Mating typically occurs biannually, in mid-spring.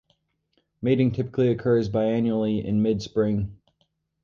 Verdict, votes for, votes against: rejected, 2, 2